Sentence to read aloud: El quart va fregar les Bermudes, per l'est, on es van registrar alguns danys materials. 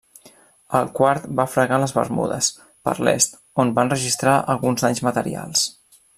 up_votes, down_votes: 0, 2